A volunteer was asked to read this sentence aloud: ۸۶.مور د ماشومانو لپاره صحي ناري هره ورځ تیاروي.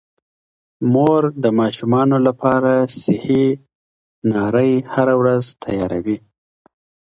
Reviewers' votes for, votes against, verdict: 0, 2, rejected